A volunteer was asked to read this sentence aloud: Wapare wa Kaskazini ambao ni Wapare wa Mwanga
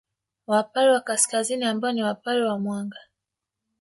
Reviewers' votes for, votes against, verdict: 2, 0, accepted